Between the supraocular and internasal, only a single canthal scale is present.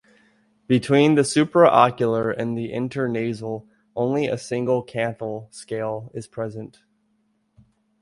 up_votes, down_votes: 0, 2